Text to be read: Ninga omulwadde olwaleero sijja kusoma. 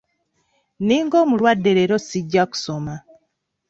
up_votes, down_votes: 1, 3